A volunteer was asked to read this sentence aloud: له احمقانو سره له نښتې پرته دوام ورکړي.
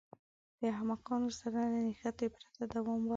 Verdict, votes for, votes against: rejected, 1, 2